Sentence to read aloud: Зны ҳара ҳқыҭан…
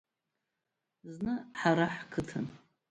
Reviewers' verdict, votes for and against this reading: rejected, 1, 2